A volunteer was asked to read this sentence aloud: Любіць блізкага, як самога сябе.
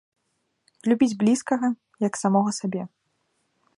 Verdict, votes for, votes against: rejected, 1, 2